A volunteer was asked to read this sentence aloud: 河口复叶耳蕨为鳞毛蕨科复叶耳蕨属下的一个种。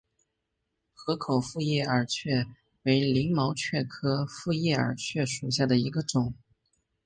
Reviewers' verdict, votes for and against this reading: accepted, 2, 0